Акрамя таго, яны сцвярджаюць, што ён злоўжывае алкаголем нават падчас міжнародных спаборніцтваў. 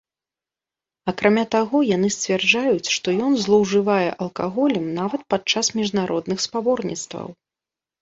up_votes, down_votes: 2, 0